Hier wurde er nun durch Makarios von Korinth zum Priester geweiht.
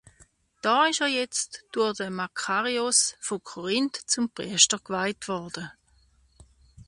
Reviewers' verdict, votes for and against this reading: rejected, 0, 2